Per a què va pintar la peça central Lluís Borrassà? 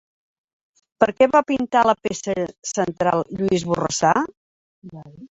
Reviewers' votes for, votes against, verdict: 0, 2, rejected